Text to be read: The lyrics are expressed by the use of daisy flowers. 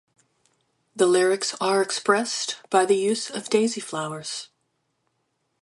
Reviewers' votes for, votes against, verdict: 2, 0, accepted